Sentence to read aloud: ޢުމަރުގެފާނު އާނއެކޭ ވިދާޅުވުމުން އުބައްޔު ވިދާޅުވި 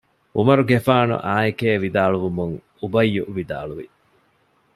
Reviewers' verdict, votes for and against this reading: accepted, 2, 0